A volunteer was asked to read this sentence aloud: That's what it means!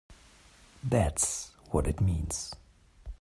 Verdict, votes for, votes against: accepted, 2, 0